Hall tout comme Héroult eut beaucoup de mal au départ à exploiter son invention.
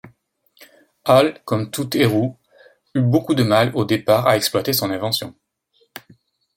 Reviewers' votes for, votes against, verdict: 0, 2, rejected